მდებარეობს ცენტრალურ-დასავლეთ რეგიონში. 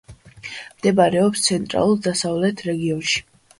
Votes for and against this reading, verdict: 2, 1, accepted